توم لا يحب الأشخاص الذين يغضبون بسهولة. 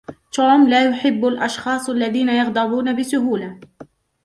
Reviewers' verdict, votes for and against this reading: rejected, 0, 2